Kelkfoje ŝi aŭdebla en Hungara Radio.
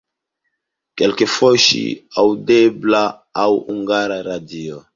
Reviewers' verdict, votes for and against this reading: rejected, 0, 2